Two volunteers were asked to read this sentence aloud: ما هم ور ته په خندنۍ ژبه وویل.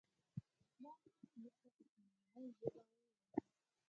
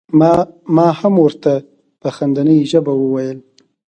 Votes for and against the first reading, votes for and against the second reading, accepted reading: 0, 4, 2, 0, second